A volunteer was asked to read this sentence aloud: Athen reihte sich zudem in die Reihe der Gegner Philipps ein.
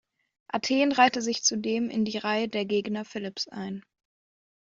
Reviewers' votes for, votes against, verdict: 2, 0, accepted